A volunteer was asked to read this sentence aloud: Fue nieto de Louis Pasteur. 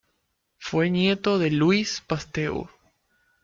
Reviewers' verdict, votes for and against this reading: accepted, 2, 1